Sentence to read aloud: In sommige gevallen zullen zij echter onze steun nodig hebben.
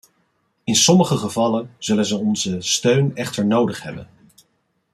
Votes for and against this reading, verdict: 1, 2, rejected